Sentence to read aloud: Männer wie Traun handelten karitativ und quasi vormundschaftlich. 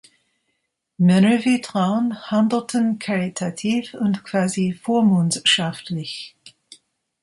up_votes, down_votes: 2, 1